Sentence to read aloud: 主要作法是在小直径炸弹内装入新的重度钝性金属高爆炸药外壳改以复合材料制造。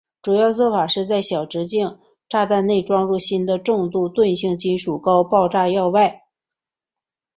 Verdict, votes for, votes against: rejected, 1, 6